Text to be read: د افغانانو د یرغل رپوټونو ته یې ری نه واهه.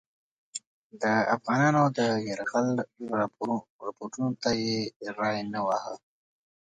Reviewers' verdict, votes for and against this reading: accepted, 2, 0